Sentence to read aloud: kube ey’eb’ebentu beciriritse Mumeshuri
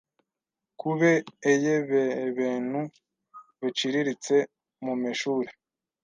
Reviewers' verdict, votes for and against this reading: rejected, 1, 2